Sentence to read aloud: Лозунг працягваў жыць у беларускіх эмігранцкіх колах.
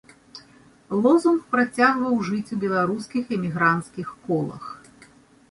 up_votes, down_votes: 2, 0